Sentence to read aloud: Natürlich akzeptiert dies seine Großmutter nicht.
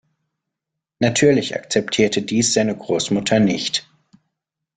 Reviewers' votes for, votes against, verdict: 1, 2, rejected